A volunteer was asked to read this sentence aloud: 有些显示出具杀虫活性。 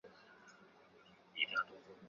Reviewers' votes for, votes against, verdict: 0, 2, rejected